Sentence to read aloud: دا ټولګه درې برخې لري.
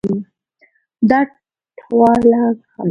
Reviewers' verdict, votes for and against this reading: rejected, 1, 2